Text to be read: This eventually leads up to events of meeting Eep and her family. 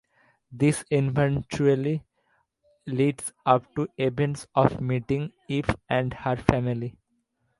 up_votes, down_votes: 2, 0